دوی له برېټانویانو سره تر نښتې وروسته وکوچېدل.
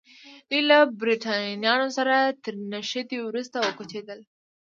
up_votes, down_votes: 2, 0